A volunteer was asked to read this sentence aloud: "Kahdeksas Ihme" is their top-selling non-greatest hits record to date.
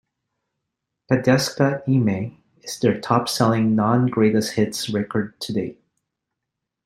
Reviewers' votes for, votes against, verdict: 0, 2, rejected